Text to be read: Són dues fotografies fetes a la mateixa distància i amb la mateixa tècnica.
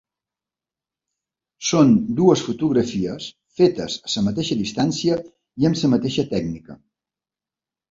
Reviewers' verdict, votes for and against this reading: rejected, 1, 2